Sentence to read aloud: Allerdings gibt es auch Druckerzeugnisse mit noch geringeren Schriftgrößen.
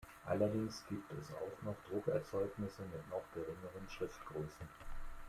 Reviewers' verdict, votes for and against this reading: rejected, 1, 2